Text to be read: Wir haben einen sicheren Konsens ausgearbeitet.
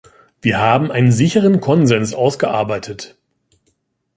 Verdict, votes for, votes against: accepted, 2, 0